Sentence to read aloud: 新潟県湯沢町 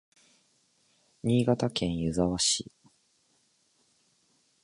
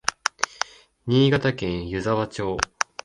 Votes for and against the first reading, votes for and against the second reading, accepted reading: 2, 3, 2, 0, second